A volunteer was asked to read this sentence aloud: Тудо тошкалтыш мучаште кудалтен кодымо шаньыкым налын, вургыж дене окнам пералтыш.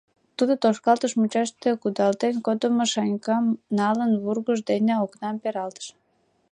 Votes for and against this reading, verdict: 1, 2, rejected